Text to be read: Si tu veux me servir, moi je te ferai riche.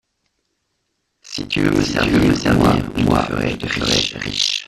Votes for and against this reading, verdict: 0, 2, rejected